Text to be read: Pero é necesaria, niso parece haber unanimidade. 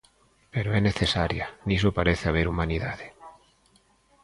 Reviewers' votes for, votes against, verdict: 0, 2, rejected